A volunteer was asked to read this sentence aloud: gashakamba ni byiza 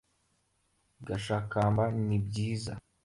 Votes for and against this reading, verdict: 2, 0, accepted